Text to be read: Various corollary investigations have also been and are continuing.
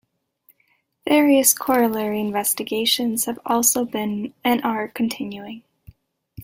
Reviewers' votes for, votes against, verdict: 2, 0, accepted